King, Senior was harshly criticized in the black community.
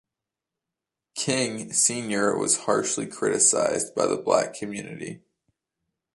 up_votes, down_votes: 1, 2